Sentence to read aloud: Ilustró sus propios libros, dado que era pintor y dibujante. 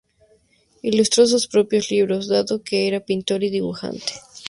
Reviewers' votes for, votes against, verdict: 2, 0, accepted